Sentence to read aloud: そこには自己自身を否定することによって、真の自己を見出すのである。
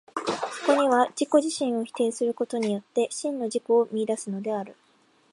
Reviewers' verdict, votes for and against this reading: accepted, 2, 0